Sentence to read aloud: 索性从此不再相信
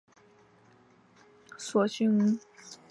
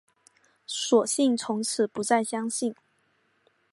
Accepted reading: second